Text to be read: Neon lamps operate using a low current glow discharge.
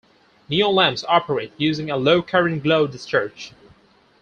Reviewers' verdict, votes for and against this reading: accepted, 4, 0